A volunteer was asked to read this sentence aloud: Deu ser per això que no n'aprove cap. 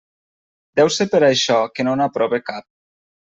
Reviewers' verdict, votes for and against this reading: accepted, 3, 0